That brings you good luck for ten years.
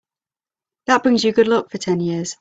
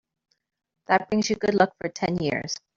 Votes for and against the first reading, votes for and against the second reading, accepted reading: 3, 0, 1, 2, first